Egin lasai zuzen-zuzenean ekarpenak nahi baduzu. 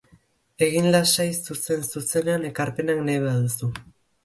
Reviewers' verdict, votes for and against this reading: accepted, 2, 0